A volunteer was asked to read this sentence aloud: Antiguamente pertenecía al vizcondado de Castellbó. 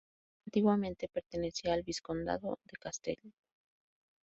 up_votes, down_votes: 2, 0